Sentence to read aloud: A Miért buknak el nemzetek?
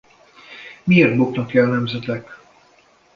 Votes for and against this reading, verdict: 1, 2, rejected